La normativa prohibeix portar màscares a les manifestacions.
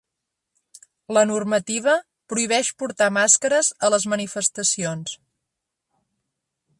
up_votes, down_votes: 4, 0